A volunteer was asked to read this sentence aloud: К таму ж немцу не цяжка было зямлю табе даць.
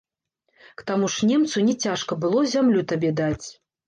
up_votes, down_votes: 1, 2